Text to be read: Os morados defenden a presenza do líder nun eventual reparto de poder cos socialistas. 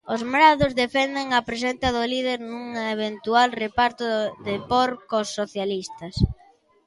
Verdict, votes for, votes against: rejected, 0, 2